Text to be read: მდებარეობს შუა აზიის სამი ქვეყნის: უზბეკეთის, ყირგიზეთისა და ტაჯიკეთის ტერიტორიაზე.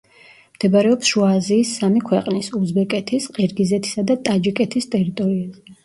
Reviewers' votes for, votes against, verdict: 0, 2, rejected